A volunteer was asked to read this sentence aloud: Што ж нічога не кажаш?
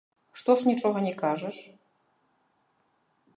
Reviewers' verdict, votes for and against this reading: rejected, 1, 2